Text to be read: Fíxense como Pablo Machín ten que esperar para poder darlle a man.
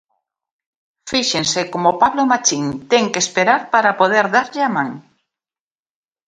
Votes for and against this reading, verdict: 2, 0, accepted